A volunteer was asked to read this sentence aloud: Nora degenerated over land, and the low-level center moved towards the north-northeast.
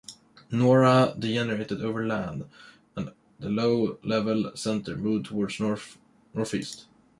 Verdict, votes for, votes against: rejected, 0, 2